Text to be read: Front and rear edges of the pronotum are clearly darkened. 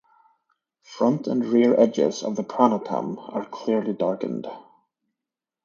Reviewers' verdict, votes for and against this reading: rejected, 1, 2